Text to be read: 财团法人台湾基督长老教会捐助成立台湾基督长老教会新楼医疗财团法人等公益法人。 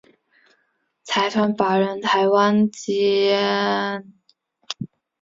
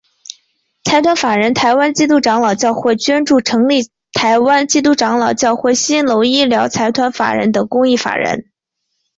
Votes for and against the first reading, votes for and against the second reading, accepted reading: 0, 2, 2, 0, second